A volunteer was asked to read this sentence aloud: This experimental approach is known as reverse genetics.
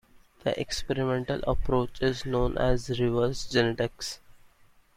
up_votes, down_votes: 1, 2